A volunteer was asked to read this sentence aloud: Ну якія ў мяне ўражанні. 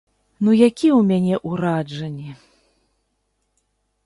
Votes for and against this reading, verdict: 0, 2, rejected